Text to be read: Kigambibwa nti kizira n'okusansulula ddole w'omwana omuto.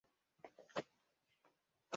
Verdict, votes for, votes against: rejected, 0, 2